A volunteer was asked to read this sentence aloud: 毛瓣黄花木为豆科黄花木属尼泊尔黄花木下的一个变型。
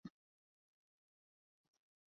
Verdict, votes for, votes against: rejected, 0, 4